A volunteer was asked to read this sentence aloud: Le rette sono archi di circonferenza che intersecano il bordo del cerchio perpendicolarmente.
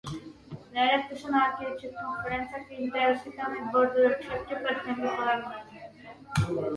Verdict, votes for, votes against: rejected, 1, 2